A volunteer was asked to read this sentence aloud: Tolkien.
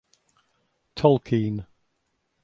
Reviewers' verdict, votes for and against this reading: accepted, 2, 0